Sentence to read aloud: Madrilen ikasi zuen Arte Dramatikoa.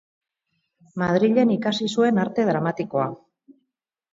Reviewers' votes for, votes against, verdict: 0, 2, rejected